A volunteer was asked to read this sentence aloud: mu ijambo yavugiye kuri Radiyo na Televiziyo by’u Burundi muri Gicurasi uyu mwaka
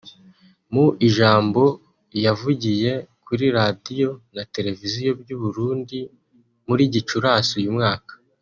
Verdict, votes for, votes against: rejected, 0, 2